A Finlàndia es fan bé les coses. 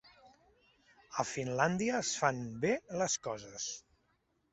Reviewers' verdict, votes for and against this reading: accepted, 5, 0